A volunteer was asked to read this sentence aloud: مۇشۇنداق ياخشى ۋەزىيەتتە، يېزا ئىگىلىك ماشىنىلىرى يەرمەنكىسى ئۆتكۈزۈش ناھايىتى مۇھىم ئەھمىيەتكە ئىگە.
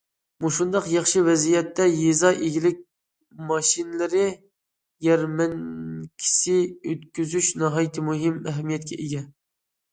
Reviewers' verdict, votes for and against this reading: accepted, 2, 0